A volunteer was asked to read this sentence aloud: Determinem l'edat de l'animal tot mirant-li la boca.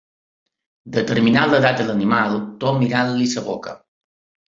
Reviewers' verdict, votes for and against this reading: rejected, 1, 2